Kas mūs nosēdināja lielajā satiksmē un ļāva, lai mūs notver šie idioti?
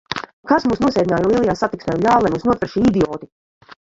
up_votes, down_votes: 0, 2